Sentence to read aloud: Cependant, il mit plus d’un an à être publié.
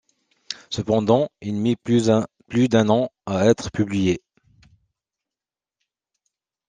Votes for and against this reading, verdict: 0, 2, rejected